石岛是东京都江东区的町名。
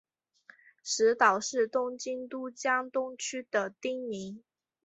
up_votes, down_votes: 2, 0